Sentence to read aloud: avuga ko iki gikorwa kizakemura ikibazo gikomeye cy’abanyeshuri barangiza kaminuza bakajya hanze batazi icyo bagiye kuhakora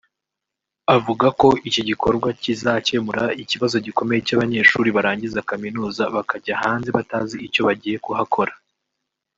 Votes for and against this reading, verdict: 3, 1, accepted